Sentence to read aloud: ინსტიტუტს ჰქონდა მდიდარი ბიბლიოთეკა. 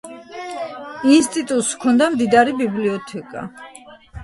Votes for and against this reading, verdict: 2, 0, accepted